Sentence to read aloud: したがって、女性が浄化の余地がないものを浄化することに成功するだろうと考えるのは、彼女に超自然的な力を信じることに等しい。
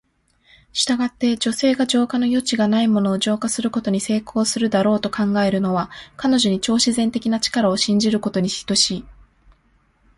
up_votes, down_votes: 2, 1